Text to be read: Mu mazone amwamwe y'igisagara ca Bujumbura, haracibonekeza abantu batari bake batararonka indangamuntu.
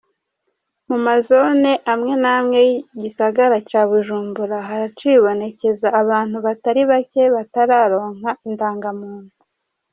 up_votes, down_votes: 2, 0